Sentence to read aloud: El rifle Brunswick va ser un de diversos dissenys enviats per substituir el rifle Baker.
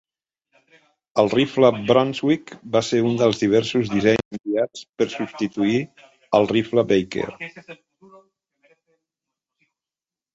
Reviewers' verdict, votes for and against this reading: rejected, 0, 2